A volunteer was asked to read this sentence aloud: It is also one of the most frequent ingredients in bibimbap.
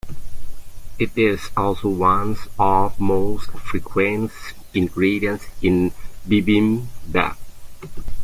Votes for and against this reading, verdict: 0, 2, rejected